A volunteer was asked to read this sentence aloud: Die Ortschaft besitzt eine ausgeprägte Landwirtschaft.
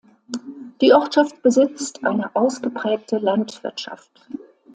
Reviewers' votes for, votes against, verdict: 3, 0, accepted